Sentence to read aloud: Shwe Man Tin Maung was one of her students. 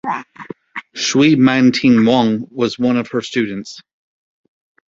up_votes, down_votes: 2, 1